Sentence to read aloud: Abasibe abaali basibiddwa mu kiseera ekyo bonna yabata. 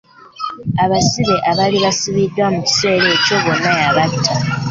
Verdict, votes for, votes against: accepted, 2, 1